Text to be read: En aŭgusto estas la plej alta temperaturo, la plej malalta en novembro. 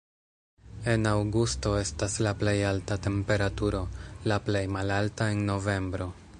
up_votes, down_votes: 2, 0